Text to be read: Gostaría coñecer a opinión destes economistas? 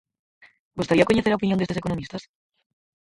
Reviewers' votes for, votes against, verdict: 2, 4, rejected